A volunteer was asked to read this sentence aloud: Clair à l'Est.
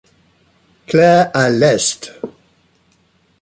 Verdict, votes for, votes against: accepted, 2, 0